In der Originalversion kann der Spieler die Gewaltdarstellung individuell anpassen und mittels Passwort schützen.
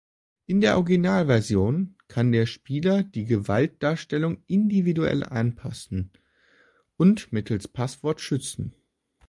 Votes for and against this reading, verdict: 2, 0, accepted